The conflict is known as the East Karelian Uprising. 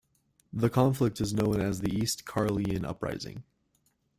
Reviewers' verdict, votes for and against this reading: rejected, 0, 2